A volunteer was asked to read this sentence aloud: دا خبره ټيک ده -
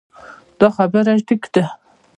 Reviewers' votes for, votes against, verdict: 1, 2, rejected